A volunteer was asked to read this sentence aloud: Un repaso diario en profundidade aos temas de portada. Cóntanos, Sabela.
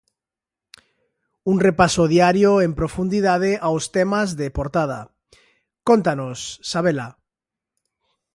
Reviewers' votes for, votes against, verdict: 2, 0, accepted